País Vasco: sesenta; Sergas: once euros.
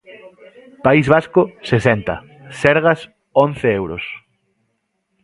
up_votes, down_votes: 2, 0